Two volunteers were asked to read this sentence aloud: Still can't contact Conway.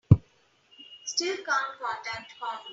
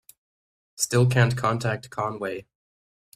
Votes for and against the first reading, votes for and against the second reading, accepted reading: 0, 2, 2, 0, second